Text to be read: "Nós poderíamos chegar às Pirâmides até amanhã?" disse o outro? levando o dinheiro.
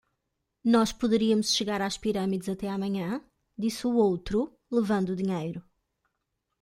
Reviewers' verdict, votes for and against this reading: accepted, 2, 0